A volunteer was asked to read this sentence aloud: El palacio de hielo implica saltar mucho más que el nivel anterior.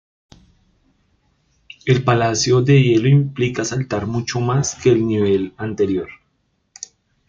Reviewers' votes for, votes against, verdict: 1, 2, rejected